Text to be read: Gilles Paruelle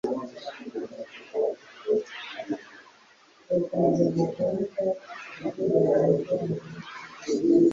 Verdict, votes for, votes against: rejected, 1, 2